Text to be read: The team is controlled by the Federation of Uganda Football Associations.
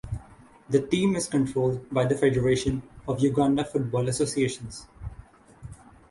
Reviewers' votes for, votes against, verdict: 6, 0, accepted